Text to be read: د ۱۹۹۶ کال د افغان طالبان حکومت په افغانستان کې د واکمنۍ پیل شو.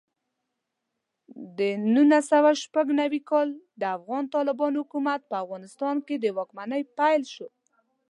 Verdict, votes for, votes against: rejected, 0, 2